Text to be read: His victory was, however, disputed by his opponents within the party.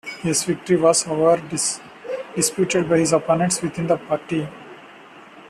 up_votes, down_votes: 0, 2